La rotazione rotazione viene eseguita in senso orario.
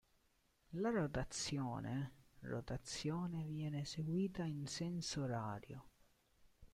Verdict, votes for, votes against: rejected, 0, 2